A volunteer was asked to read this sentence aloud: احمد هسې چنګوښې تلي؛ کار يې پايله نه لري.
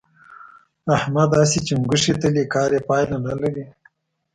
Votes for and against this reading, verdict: 2, 0, accepted